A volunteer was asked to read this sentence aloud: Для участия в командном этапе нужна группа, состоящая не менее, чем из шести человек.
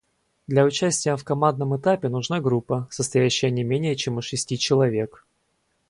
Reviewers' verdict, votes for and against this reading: rejected, 2, 2